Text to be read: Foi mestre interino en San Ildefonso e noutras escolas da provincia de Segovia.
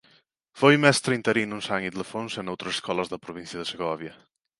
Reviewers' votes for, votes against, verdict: 2, 1, accepted